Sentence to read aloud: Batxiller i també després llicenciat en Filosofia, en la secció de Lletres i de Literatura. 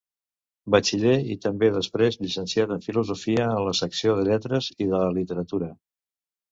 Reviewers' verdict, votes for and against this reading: rejected, 1, 2